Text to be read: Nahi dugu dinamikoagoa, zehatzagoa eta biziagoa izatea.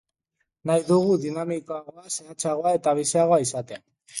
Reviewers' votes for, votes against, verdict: 2, 0, accepted